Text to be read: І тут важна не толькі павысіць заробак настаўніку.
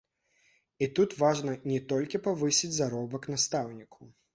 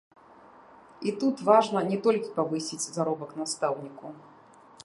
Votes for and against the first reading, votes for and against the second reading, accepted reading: 2, 1, 0, 2, first